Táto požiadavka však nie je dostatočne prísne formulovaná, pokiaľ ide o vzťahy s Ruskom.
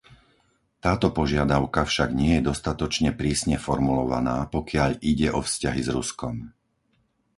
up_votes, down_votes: 4, 0